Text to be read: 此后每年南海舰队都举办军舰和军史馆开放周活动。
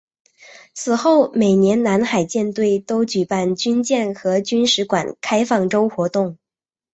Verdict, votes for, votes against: accepted, 2, 0